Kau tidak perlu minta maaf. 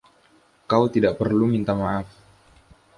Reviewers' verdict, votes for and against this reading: accepted, 2, 0